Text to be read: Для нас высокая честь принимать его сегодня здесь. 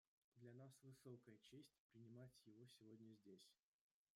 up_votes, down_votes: 1, 2